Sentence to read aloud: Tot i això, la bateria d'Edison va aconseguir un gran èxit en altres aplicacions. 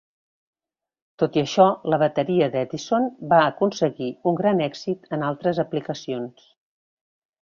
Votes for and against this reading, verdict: 3, 0, accepted